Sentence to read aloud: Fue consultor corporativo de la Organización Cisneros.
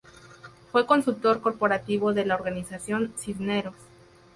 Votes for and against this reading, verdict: 2, 0, accepted